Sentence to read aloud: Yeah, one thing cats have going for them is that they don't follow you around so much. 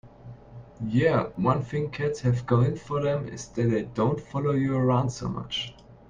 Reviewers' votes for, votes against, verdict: 2, 1, accepted